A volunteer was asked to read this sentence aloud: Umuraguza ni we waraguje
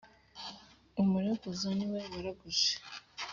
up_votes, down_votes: 3, 0